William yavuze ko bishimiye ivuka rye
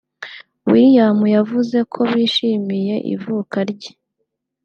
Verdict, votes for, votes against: accepted, 2, 0